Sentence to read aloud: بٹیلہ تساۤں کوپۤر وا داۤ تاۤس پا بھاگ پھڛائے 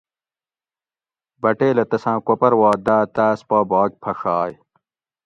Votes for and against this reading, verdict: 2, 0, accepted